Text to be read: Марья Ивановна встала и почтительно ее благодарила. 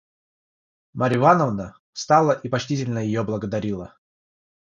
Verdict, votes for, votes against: accepted, 3, 0